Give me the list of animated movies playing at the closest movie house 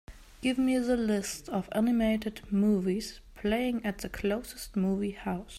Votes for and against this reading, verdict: 2, 0, accepted